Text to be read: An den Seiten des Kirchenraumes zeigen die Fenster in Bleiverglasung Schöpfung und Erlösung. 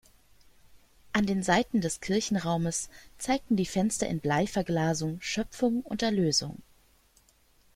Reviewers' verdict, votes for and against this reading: rejected, 0, 2